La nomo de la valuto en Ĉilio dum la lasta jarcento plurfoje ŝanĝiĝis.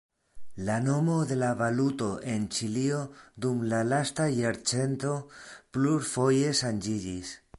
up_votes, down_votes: 2, 0